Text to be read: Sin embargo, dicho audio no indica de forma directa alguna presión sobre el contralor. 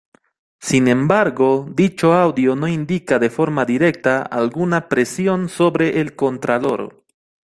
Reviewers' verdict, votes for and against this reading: accepted, 2, 1